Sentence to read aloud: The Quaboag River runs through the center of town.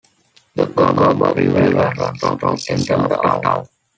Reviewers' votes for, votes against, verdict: 0, 2, rejected